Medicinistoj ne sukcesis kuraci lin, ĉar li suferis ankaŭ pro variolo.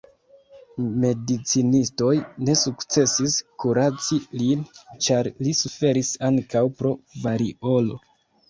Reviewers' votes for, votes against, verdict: 2, 1, accepted